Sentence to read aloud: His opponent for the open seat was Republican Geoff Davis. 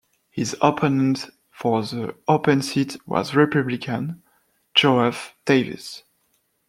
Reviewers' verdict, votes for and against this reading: accepted, 2, 0